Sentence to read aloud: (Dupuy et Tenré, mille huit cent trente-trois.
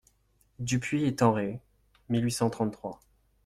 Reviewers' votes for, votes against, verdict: 2, 0, accepted